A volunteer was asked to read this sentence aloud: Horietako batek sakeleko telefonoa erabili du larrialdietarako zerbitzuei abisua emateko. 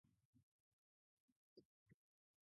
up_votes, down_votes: 0, 4